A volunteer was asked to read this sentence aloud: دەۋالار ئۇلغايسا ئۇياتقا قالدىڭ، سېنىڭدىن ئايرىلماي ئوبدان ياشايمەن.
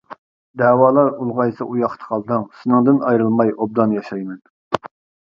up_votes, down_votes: 2, 1